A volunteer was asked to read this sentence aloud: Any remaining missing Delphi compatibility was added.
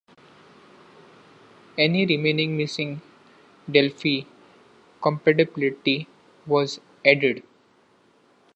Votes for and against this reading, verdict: 1, 2, rejected